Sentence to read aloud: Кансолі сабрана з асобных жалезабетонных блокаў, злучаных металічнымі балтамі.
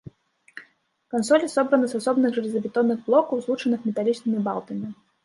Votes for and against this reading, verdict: 0, 2, rejected